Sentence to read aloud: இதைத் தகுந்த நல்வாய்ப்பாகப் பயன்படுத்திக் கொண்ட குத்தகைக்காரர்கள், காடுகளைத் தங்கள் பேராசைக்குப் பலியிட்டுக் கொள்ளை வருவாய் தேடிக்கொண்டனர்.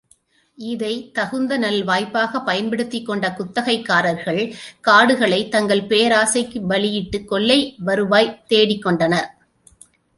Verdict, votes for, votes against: accepted, 2, 0